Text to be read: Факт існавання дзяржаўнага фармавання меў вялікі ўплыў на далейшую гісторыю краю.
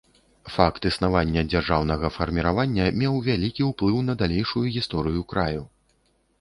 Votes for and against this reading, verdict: 0, 2, rejected